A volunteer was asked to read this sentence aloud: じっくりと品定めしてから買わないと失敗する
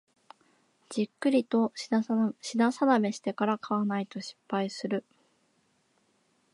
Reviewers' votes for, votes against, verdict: 3, 2, accepted